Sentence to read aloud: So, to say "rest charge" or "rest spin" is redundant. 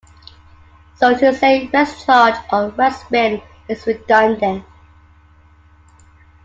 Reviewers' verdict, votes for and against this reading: accepted, 2, 0